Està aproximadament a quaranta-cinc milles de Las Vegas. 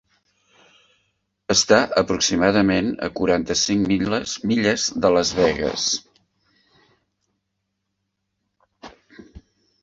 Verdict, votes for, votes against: rejected, 0, 2